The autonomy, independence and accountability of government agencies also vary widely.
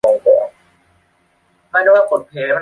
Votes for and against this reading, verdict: 0, 2, rejected